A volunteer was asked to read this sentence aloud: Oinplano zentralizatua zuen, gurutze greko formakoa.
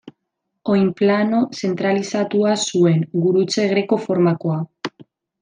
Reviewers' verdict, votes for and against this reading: accepted, 2, 1